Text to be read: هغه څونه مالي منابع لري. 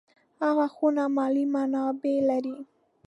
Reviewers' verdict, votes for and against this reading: rejected, 0, 2